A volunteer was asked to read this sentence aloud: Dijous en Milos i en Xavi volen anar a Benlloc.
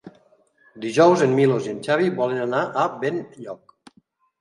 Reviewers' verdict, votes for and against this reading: accepted, 3, 0